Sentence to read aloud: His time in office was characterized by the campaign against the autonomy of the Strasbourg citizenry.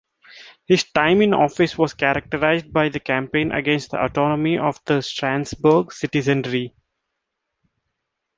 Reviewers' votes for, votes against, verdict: 1, 2, rejected